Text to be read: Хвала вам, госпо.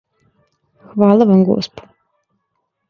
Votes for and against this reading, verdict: 2, 0, accepted